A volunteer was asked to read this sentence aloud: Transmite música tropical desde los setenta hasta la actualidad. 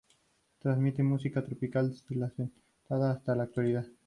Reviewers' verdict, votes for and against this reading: rejected, 0, 2